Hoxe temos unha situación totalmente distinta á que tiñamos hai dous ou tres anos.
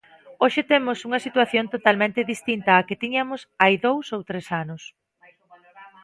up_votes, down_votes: 0, 2